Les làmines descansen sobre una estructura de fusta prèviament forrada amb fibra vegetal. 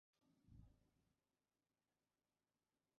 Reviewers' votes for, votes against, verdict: 0, 4, rejected